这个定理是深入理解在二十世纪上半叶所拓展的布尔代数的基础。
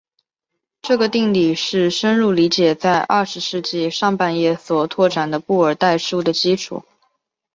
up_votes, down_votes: 3, 0